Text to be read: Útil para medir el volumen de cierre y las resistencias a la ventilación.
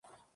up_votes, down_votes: 0, 2